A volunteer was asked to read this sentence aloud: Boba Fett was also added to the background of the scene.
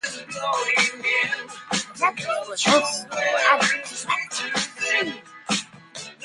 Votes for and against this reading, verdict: 0, 2, rejected